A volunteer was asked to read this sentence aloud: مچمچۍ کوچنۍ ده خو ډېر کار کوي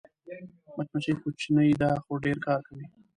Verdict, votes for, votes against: rejected, 0, 2